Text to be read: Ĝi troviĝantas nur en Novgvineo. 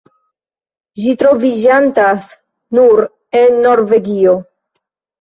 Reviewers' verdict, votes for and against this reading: rejected, 0, 2